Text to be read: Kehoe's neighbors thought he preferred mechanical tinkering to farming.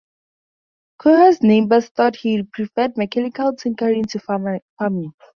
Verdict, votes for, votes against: rejected, 0, 2